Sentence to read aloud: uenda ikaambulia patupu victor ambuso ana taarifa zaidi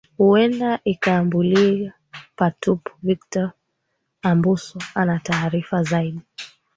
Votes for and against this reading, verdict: 2, 1, accepted